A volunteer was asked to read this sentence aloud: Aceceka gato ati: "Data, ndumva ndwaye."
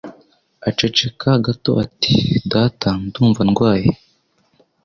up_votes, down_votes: 2, 0